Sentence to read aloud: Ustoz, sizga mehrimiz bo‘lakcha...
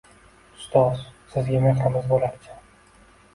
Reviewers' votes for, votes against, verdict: 2, 0, accepted